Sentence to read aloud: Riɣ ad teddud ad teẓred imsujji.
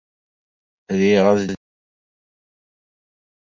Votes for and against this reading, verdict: 1, 2, rejected